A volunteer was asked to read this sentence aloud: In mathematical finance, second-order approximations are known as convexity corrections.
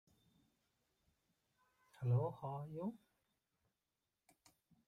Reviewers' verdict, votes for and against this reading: rejected, 0, 2